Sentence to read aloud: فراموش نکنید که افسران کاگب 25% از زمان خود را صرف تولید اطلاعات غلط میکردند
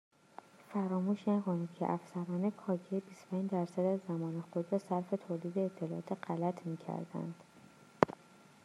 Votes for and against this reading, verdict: 0, 2, rejected